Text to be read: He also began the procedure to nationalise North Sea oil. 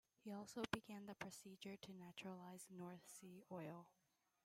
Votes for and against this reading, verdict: 0, 2, rejected